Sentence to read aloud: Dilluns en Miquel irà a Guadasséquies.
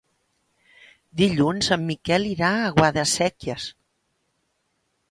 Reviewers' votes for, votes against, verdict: 3, 0, accepted